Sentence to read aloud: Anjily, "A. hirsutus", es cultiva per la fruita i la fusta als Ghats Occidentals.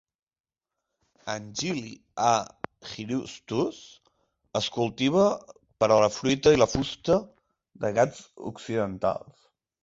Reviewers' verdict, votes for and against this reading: rejected, 0, 2